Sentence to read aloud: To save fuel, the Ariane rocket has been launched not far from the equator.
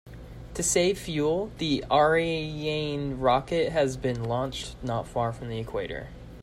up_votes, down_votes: 1, 2